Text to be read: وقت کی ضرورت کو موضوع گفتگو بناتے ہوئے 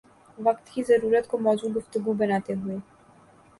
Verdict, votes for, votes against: accepted, 2, 0